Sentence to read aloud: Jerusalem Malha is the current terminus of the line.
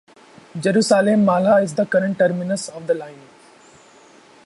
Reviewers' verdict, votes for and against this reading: rejected, 0, 2